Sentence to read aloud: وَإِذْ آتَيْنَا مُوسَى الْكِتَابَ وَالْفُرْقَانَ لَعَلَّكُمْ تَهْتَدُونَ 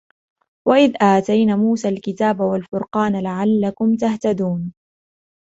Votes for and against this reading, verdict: 2, 1, accepted